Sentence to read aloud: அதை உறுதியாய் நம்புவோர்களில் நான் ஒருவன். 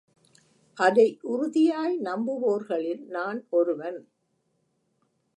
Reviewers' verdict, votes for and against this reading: accepted, 2, 0